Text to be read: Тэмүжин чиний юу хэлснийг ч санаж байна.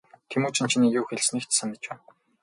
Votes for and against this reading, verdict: 4, 2, accepted